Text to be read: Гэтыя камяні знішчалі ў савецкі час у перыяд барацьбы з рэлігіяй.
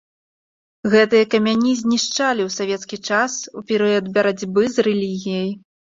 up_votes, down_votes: 2, 0